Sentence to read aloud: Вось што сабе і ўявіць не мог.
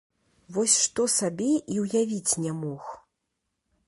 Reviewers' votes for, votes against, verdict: 2, 0, accepted